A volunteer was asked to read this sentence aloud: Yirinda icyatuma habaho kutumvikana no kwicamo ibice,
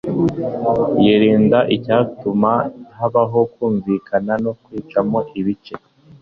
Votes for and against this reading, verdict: 1, 2, rejected